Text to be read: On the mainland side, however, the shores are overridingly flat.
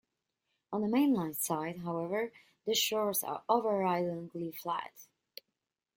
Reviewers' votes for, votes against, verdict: 1, 2, rejected